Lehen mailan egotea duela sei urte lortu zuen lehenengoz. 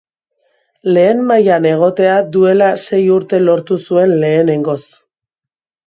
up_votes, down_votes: 2, 0